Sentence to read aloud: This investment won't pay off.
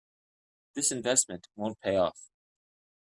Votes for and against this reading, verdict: 2, 0, accepted